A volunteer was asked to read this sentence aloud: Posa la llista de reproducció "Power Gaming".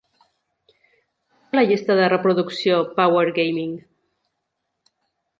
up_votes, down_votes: 1, 2